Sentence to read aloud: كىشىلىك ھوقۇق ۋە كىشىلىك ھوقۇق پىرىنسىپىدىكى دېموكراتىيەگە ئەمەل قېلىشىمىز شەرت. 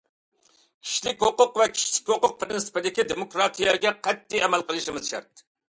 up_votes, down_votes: 0, 2